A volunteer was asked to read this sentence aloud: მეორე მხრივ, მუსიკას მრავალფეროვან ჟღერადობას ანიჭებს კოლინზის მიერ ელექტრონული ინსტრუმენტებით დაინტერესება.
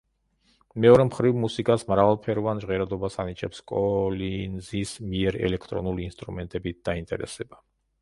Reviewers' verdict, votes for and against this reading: rejected, 0, 2